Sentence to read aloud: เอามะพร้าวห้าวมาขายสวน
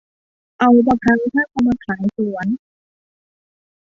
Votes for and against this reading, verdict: 0, 2, rejected